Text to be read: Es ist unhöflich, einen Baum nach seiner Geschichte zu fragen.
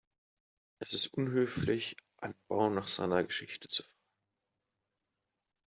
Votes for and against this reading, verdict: 0, 2, rejected